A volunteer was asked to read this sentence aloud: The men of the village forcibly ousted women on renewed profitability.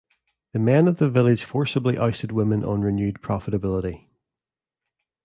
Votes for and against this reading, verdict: 2, 0, accepted